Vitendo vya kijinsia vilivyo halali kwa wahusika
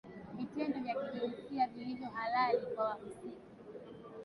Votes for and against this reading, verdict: 3, 0, accepted